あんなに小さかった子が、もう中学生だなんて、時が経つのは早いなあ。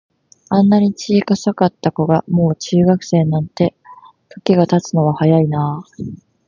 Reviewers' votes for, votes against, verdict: 1, 2, rejected